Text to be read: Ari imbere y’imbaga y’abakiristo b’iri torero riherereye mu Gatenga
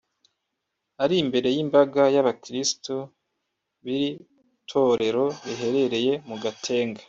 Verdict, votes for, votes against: rejected, 0, 2